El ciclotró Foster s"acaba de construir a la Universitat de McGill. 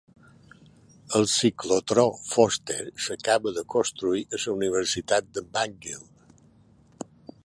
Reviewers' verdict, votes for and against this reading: rejected, 0, 2